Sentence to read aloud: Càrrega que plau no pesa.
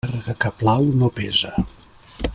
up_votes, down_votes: 0, 2